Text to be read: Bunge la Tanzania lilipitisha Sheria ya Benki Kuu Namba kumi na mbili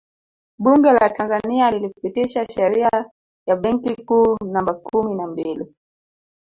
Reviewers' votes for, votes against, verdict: 1, 2, rejected